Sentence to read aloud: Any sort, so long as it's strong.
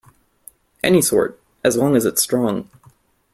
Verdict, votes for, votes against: rejected, 0, 2